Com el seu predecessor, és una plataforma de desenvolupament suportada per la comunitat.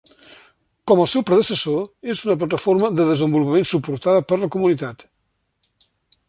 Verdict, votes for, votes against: accepted, 2, 0